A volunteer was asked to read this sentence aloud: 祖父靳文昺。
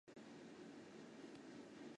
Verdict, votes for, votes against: rejected, 3, 4